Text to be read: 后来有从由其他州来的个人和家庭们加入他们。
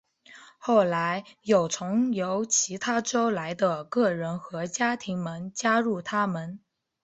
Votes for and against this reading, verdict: 3, 1, accepted